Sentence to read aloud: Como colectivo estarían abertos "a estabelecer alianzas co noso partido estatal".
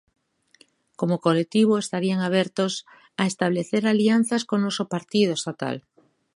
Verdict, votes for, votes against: rejected, 1, 2